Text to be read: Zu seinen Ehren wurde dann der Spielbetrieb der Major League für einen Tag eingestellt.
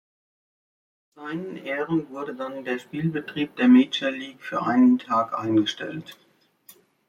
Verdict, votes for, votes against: rejected, 0, 2